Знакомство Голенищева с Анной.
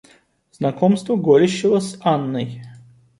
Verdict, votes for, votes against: rejected, 0, 2